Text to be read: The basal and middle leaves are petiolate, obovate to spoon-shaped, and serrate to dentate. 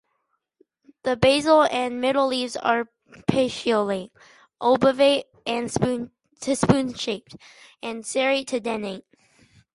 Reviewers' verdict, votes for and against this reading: rejected, 0, 2